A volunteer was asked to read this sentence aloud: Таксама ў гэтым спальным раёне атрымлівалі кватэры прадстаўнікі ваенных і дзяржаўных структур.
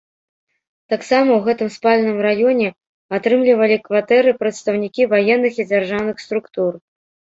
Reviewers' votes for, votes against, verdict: 2, 0, accepted